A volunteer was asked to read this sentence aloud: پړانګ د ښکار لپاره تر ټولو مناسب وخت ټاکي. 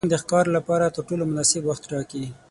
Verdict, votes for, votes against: rejected, 0, 6